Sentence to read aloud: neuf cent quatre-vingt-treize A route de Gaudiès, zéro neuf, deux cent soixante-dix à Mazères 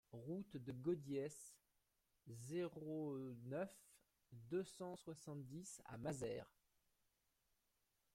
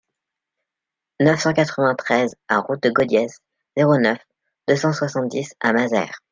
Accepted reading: second